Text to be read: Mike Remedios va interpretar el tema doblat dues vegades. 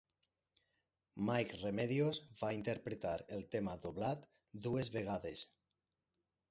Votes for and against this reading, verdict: 6, 0, accepted